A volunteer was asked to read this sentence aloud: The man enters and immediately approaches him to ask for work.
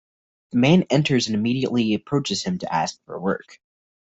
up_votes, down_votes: 2, 0